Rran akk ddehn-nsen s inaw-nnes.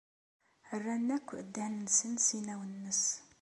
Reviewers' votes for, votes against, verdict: 2, 0, accepted